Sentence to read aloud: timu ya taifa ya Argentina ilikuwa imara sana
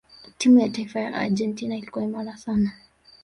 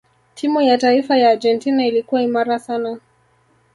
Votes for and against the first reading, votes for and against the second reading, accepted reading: 2, 1, 0, 2, first